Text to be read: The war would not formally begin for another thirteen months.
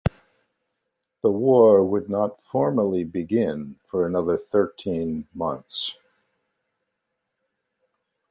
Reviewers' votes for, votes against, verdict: 2, 0, accepted